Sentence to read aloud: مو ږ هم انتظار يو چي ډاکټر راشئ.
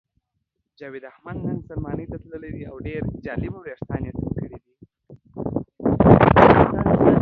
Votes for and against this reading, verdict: 0, 2, rejected